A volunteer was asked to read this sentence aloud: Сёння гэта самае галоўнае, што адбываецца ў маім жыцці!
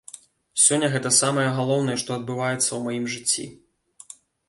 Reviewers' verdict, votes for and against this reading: accepted, 2, 0